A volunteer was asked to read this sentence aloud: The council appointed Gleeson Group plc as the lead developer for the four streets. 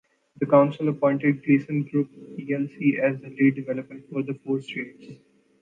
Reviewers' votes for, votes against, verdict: 2, 0, accepted